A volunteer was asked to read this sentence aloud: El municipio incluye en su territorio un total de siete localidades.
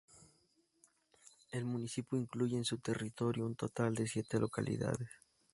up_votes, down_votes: 2, 0